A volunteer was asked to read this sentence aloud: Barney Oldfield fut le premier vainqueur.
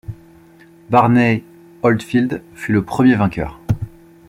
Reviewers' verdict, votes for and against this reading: accepted, 2, 0